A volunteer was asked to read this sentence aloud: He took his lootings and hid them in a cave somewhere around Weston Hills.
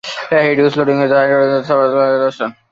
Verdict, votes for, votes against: rejected, 0, 2